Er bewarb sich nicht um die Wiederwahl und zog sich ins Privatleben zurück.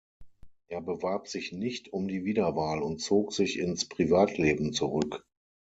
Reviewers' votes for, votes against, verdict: 9, 0, accepted